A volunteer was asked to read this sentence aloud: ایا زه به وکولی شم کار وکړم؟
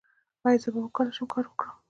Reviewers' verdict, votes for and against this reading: accepted, 2, 0